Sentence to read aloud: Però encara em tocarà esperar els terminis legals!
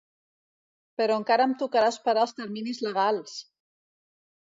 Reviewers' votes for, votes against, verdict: 2, 0, accepted